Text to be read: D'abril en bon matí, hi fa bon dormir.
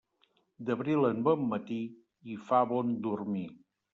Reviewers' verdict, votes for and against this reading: accepted, 3, 0